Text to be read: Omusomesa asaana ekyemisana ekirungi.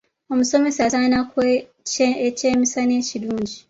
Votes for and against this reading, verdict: 1, 2, rejected